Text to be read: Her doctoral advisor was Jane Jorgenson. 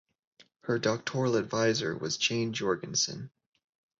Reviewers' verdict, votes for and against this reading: accepted, 2, 0